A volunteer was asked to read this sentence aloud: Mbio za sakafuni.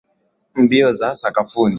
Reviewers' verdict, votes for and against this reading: accepted, 2, 0